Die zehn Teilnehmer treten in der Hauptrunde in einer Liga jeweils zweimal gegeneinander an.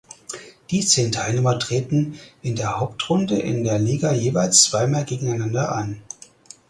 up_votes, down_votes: 2, 4